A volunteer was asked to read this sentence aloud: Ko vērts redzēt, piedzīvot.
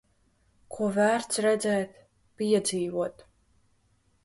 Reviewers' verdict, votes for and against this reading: accepted, 2, 0